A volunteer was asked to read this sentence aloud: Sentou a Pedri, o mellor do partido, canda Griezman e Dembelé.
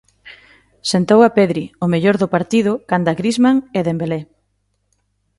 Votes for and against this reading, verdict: 2, 0, accepted